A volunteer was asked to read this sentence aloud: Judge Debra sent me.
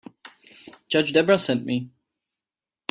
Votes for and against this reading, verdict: 2, 0, accepted